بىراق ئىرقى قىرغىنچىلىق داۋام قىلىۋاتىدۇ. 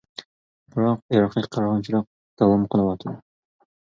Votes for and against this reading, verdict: 0, 2, rejected